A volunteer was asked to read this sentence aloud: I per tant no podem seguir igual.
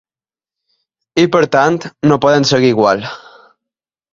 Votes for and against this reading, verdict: 2, 0, accepted